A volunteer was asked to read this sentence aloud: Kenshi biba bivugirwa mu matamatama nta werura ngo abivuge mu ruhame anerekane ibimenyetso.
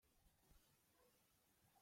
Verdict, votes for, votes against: rejected, 0, 2